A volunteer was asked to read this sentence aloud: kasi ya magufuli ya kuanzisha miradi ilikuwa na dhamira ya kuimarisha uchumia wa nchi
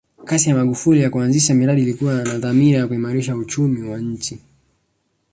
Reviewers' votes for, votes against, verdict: 2, 1, accepted